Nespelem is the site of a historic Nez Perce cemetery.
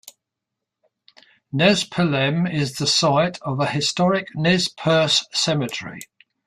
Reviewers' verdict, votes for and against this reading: accepted, 2, 0